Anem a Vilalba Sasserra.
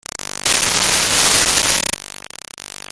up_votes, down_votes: 0, 2